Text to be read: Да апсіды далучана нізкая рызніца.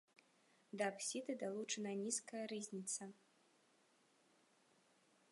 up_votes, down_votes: 2, 0